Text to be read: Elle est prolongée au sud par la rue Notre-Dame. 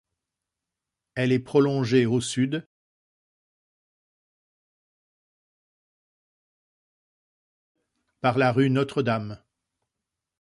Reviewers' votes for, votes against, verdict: 0, 2, rejected